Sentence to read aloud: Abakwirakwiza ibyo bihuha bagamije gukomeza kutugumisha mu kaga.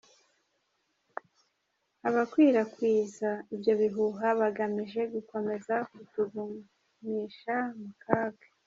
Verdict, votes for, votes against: rejected, 0, 2